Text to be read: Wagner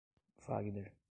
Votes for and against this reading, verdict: 0, 2, rejected